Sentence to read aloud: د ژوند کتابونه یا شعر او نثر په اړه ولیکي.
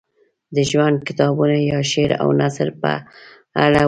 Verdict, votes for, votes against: rejected, 0, 2